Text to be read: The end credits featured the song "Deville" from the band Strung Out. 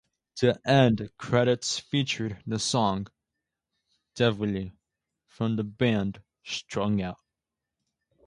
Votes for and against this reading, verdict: 2, 0, accepted